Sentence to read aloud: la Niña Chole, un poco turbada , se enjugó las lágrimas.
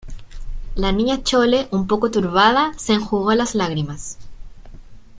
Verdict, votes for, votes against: accepted, 2, 0